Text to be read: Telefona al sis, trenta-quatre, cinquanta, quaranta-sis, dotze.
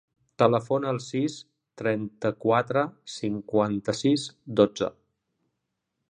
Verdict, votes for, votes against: rejected, 1, 2